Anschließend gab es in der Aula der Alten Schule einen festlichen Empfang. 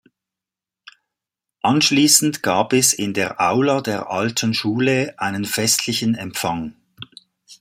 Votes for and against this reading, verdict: 2, 0, accepted